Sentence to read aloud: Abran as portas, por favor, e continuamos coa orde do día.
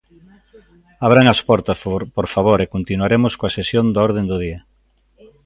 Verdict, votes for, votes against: rejected, 0, 2